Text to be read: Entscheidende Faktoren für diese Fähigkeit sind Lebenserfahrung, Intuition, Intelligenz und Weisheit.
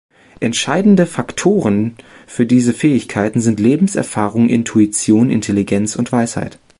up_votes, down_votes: 1, 2